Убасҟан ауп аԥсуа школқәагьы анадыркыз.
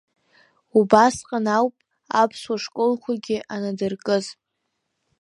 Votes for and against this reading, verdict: 2, 0, accepted